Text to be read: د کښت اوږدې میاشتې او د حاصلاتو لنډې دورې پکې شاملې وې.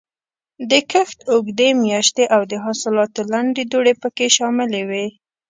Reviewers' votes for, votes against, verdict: 0, 2, rejected